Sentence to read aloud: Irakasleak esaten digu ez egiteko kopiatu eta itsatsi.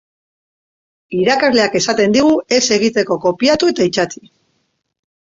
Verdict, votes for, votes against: accepted, 2, 0